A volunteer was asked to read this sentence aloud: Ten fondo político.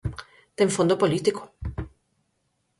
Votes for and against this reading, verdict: 4, 0, accepted